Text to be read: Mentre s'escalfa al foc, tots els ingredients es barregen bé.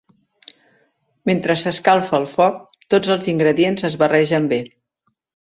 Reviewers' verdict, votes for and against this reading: accepted, 2, 0